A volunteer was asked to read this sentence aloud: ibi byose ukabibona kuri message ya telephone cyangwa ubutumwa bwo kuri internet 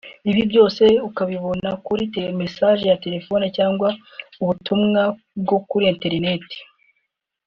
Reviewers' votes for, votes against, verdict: 2, 0, accepted